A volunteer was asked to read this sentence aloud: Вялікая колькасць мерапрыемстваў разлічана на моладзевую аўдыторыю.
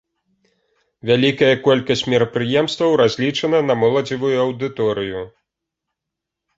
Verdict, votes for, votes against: accepted, 2, 0